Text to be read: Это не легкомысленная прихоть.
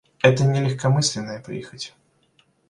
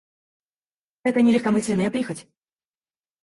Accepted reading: first